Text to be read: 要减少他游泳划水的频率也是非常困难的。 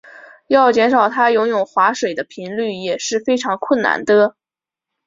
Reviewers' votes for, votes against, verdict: 3, 0, accepted